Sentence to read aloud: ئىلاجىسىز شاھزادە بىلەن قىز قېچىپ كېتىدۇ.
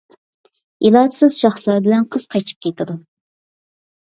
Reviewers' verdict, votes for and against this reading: rejected, 1, 2